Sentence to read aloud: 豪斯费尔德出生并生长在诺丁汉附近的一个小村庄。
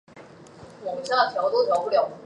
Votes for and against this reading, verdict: 0, 2, rejected